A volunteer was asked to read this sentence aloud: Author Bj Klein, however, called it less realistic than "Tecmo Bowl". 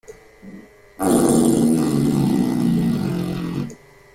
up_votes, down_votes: 0, 2